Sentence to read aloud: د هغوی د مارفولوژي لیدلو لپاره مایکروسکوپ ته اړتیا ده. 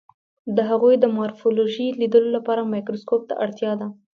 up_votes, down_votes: 2, 0